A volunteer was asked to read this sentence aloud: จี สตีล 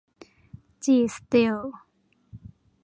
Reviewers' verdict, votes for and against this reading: accepted, 2, 0